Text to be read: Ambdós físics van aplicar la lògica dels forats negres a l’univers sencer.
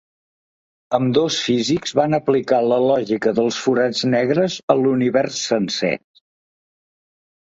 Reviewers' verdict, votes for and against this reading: accepted, 2, 0